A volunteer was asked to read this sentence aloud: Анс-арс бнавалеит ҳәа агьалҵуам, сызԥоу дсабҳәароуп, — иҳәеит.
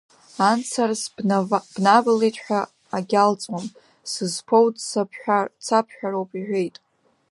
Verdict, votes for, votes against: rejected, 0, 2